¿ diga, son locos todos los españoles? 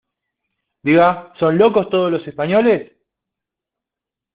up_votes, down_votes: 2, 0